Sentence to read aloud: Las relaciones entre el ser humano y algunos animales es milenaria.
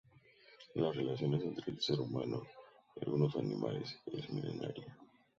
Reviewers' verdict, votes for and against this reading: rejected, 0, 4